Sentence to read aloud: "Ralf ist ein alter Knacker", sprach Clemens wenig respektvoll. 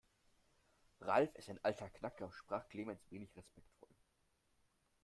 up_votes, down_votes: 1, 2